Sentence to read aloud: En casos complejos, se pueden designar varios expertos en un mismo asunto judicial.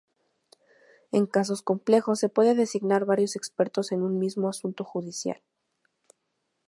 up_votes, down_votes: 0, 2